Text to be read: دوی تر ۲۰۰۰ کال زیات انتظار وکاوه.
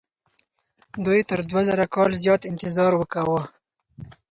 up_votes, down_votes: 0, 2